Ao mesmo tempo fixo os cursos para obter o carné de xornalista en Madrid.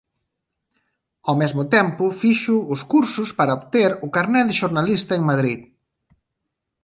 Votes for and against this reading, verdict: 2, 0, accepted